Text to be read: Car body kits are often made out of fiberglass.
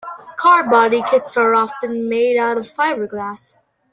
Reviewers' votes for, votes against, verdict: 1, 2, rejected